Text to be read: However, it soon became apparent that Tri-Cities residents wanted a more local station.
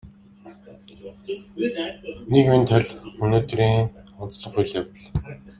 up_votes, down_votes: 0, 2